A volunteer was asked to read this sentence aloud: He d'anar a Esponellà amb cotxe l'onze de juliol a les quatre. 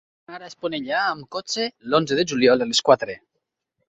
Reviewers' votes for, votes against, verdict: 0, 2, rejected